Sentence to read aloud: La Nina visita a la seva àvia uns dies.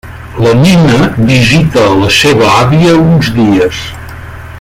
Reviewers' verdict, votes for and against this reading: rejected, 1, 2